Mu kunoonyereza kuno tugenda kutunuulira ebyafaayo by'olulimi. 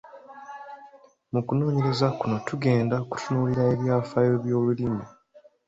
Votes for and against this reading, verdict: 3, 1, accepted